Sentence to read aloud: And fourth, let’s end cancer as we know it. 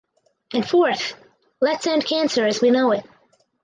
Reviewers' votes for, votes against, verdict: 2, 2, rejected